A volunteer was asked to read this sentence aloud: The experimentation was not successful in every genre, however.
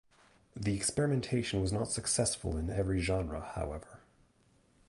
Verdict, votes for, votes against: accepted, 2, 0